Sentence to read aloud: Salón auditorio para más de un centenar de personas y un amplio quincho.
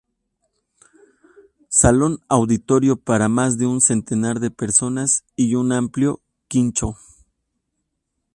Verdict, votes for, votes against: accepted, 2, 0